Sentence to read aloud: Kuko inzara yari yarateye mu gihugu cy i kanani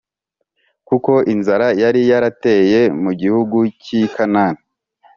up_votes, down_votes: 3, 0